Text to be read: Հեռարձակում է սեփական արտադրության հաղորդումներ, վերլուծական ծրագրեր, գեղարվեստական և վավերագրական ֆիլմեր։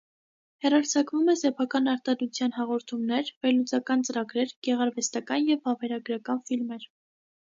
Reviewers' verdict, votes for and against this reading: accepted, 2, 0